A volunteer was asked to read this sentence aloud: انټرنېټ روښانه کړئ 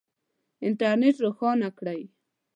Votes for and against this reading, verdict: 2, 0, accepted